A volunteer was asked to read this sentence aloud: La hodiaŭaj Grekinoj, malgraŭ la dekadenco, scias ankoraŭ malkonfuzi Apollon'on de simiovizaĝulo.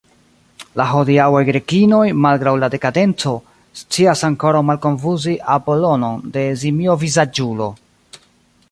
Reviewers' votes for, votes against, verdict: 2, 1, accepted